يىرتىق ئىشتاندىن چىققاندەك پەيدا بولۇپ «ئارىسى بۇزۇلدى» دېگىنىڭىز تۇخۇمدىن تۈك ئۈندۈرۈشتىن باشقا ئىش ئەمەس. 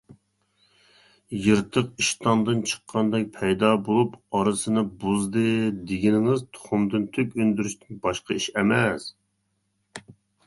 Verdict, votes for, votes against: rejected, 0, 2